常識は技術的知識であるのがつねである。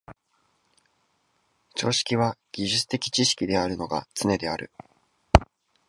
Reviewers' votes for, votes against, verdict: 2, 0, accepted